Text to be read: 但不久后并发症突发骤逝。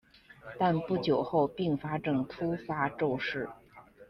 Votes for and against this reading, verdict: 2, 0, accepted